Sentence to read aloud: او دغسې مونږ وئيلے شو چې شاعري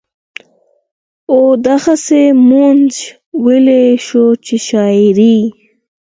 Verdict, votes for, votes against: accepted, 4, 2